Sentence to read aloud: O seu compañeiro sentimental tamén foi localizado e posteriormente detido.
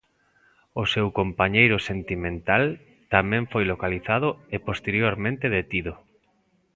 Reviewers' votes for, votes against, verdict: 2, 0, accepted